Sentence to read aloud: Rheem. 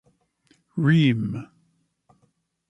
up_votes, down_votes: 1, 2